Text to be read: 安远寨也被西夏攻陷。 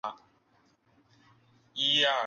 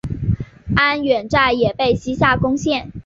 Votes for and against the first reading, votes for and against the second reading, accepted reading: 0, 7, 3, 0, second